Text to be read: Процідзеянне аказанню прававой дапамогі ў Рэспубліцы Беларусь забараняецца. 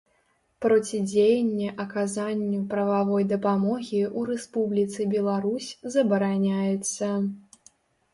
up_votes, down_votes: 2, 0